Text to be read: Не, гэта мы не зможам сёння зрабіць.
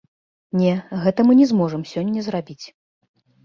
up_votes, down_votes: 2, 0